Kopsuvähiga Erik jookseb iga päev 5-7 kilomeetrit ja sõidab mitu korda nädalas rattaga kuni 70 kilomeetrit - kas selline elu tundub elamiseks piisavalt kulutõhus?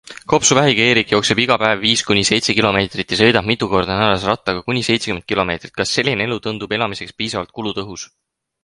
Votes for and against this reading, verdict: 0, 2, rejected